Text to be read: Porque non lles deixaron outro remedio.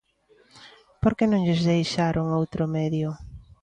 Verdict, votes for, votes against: rejected, 0, 2